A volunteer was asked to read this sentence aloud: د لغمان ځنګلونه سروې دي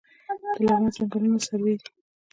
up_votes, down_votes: 1, 2